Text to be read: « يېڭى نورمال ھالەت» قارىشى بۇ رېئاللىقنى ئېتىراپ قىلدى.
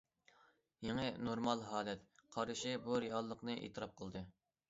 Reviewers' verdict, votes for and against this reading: accepted, 2, 0